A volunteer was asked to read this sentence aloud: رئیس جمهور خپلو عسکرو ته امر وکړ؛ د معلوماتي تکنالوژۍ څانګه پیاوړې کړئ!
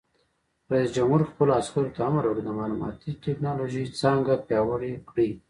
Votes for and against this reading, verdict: 0, 2, rejected